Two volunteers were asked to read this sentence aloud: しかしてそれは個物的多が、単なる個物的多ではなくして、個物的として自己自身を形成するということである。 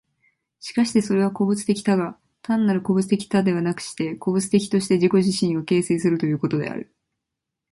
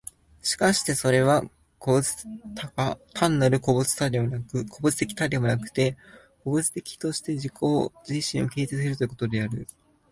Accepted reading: second